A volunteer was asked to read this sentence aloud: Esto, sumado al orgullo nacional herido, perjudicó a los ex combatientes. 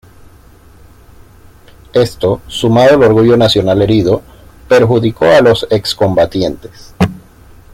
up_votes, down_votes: 1, 2